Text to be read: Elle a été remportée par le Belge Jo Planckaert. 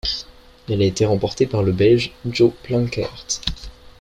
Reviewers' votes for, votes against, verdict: 2, 0, accepted